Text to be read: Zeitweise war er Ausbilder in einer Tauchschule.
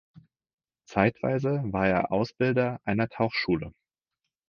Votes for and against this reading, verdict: 0, 4, rejected